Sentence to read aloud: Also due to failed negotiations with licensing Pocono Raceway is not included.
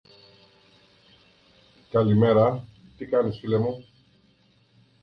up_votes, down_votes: 0, 2